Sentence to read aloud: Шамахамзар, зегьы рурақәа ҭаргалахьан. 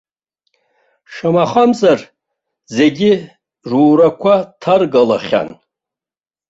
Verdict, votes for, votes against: accepted, 2, 0